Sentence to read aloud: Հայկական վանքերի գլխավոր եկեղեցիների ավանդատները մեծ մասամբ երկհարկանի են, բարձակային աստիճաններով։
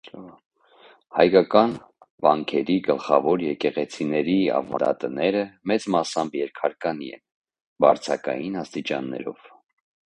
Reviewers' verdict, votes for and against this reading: accepted, 2, 0